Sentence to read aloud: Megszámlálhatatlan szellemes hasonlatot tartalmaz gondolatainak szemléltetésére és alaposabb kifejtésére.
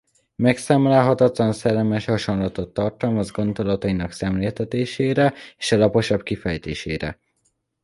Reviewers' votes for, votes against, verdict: 0, 2, rejected